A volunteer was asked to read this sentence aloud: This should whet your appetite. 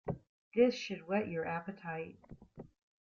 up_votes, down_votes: 2, 0